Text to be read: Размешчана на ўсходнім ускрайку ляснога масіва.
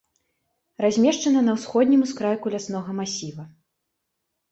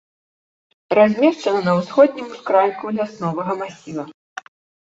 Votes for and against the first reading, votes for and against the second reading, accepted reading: 2, 1, 0, 2, first